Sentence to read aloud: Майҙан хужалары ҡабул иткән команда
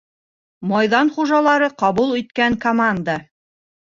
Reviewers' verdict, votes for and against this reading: rejected, 0, 2